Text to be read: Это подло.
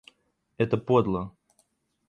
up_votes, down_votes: 2, 0